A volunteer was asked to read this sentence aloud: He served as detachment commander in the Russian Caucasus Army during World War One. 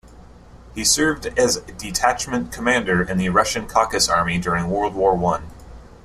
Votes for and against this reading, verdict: 0, 2, rejected